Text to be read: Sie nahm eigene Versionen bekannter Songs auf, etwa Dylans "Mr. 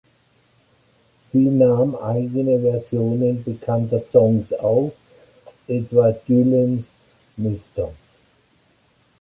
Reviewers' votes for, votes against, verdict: 2, 0, accepted